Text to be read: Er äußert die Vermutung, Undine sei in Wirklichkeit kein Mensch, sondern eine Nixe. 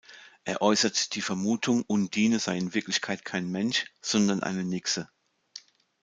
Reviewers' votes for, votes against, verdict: 2, 0, accepted